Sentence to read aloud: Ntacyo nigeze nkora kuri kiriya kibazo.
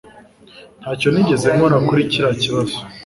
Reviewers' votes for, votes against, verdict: 2, 0, accepted